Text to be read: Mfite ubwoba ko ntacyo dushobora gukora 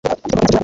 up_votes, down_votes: 1, 2